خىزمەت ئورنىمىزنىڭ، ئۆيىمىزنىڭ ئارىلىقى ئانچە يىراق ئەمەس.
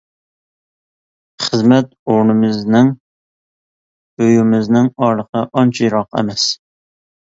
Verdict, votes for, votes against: accepted, 2, 0